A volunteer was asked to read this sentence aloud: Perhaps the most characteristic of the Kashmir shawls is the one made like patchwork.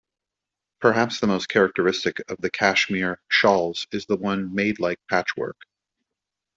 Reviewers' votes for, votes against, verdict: 2, 0, accepted